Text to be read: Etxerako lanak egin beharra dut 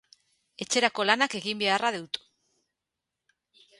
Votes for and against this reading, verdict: 2, 0, accepted